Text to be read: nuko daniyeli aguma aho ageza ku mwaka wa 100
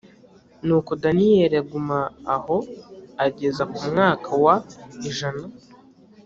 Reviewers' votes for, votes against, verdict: 0, 2, rejected